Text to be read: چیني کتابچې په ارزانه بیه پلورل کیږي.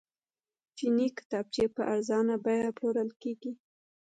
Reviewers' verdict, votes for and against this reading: accepted, 2, 1